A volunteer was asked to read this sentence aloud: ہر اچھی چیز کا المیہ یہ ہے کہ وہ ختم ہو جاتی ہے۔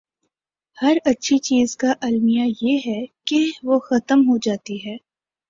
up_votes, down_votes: 2, 0